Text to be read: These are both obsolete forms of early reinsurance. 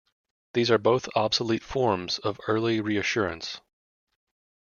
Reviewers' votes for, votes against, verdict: 1, 2, rejected